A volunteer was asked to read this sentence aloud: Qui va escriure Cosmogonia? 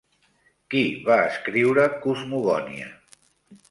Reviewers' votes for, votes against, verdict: 3, 1, accepted